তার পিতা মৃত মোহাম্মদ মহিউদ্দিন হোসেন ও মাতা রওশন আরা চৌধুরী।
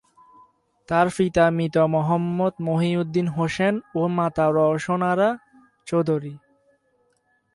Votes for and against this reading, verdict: 4, 2, accepted